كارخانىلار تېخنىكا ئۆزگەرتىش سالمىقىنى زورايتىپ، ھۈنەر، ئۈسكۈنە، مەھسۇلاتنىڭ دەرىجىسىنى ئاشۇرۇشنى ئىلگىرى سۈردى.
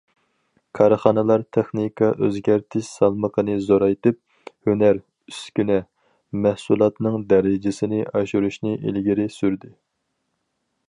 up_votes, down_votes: 4, 0